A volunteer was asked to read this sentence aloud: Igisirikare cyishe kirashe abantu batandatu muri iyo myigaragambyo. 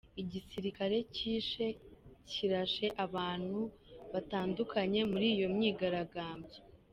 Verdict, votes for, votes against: rejected, 1, 2